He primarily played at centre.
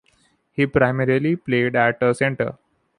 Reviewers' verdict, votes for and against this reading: rejected, 0, 2